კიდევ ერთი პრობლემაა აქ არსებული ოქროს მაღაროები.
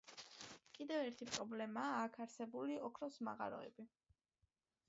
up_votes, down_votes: 2, 0